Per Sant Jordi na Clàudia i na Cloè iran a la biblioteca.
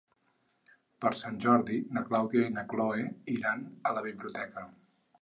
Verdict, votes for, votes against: accepted, 6, 0